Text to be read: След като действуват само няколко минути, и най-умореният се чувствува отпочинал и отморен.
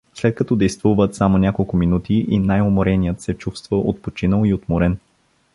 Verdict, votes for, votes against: rejected, 1, 2